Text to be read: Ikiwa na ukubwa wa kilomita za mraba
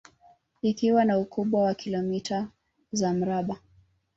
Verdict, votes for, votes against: rejected, 1, 2